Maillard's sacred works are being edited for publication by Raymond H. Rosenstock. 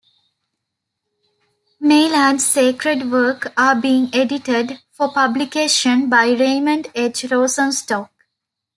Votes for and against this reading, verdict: 0, 3, rejected